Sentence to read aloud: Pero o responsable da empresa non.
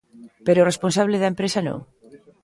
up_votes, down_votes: 2, 0